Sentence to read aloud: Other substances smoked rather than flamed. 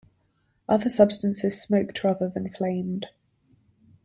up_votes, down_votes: 2, 0